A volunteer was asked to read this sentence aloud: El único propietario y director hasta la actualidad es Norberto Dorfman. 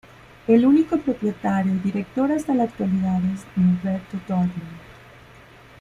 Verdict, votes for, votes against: accepted, 2, 1